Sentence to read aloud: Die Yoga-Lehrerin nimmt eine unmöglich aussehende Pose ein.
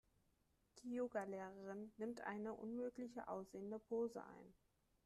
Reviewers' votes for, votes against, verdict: 1, 2, rejected